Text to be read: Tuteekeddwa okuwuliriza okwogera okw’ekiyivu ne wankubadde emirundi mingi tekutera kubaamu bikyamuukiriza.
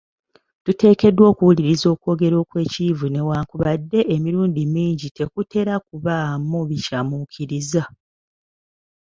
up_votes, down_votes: 2, 0